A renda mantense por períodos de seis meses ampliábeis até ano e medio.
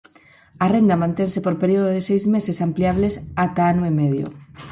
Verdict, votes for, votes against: rejected, 2, 6